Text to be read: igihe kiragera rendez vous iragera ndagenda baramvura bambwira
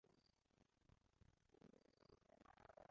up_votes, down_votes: 0, 2